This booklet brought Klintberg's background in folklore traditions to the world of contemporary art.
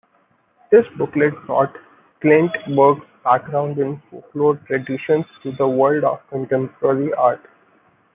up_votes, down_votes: 1, 2